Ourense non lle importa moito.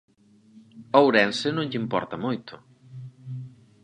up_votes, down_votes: 4, 0